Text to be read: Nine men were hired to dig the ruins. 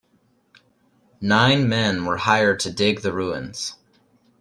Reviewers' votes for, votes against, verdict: 2, 0, accepted